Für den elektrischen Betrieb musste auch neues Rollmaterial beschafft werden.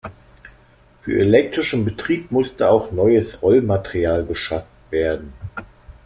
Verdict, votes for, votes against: rejected, 0, 2